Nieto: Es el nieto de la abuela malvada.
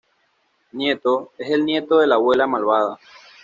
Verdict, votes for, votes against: accepted, 2, 0